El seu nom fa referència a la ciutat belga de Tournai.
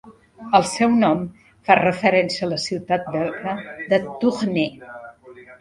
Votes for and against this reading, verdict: 0, 2, rejected